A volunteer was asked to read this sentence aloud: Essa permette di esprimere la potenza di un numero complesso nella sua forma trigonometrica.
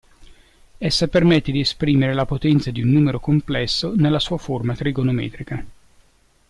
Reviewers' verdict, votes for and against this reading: accepted, 2, 0